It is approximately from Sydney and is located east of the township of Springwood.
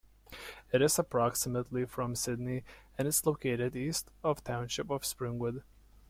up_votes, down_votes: 2, 0